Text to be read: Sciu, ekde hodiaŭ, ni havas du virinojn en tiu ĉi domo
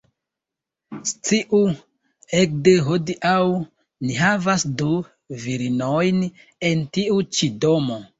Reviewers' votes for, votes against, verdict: 1, 2, rejected